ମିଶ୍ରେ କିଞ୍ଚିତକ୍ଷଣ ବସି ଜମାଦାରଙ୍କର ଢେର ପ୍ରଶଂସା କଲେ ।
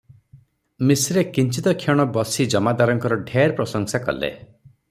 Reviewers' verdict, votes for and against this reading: accepted, 3, 0